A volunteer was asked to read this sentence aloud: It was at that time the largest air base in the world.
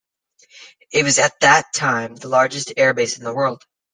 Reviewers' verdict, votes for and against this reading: accepted, 2, 1